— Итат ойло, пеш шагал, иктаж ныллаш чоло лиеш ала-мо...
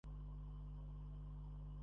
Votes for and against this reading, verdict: 0, 2, rejected